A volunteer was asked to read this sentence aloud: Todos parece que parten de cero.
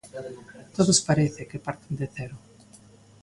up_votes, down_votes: 2, 0